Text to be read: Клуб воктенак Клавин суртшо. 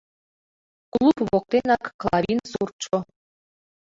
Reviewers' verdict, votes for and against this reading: accepted, 2, 1